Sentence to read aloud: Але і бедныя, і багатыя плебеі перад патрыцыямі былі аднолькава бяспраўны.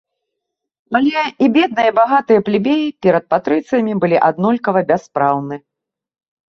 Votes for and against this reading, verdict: 2, 0, accepted